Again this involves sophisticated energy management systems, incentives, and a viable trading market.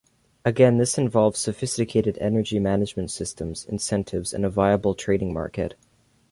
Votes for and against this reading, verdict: 2, 0, accepted